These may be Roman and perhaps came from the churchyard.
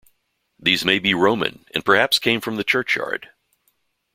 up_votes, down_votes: 2, 0